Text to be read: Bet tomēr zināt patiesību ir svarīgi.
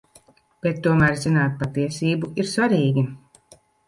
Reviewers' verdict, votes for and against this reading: accepted, 2, 0